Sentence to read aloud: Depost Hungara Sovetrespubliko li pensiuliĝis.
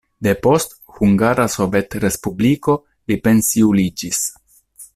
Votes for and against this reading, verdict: 2, 0, accepted